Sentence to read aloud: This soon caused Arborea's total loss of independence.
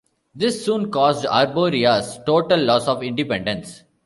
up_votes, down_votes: 2, 0